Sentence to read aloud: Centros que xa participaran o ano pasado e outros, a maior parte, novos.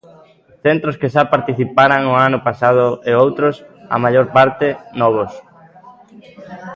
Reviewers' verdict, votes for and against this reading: rejected, 1, 2